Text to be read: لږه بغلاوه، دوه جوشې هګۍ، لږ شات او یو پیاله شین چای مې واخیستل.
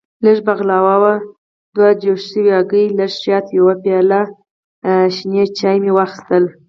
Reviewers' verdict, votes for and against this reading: rejected, 2, 4